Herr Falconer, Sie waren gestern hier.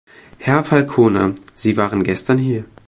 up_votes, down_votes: 2, 0